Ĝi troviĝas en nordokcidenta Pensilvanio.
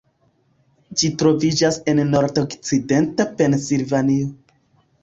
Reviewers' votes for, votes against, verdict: 0, 2, rejected